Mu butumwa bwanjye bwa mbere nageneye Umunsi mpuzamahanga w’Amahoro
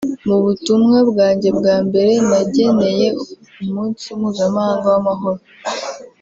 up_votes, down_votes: 2, 0